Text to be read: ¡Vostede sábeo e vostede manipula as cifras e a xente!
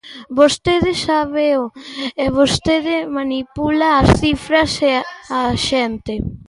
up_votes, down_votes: 0, 2